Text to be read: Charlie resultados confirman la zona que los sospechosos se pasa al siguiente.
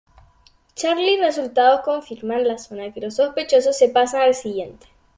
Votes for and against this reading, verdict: 2, 0, accepted